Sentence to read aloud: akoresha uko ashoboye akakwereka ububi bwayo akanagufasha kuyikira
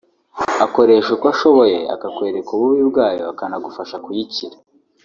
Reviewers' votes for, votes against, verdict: 2, 0, accepted